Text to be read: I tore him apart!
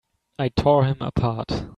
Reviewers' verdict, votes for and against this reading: accepted, 3, 0